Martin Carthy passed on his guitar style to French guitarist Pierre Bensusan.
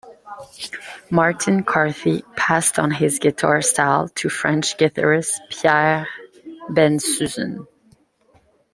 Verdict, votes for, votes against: rejected, 0, 2